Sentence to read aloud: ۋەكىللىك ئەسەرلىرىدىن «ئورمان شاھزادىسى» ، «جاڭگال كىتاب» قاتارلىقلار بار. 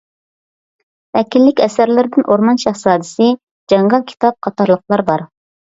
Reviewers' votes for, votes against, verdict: 2, 0, accepted